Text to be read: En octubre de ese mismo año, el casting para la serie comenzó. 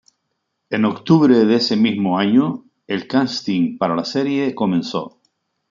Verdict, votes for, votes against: accepted, 3, 1